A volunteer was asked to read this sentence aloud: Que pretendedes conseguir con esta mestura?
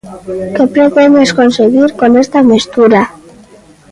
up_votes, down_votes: 0, 2